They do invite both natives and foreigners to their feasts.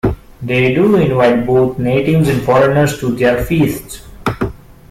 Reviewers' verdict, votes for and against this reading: accepted, 2, 0